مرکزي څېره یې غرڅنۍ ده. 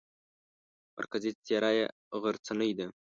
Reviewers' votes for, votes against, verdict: 2, 0, accepted